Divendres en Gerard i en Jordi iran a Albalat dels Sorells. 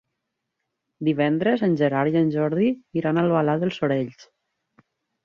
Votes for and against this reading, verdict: 2, 0, accepted